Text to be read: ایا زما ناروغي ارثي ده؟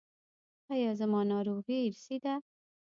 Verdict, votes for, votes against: accepted, 2, 0